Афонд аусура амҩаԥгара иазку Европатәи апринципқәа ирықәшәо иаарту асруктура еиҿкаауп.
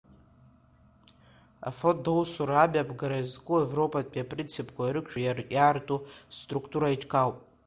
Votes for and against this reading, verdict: 2, 1, accepted